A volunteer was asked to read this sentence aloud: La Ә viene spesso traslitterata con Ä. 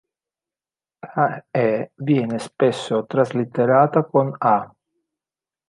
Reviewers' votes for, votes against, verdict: 0, 3, rejected